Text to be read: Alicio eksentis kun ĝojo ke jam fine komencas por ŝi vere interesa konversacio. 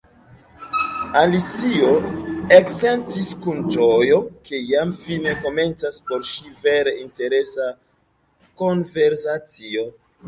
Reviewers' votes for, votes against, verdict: 0, 2, rejected